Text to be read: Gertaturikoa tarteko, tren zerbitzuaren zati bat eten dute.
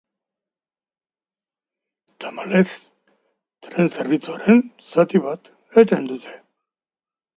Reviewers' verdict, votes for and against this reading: rejected, 0, 2